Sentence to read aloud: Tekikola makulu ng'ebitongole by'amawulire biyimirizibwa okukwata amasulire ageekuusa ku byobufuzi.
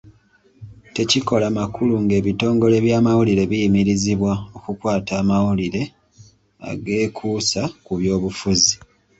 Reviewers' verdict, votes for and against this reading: rejected, 1, 2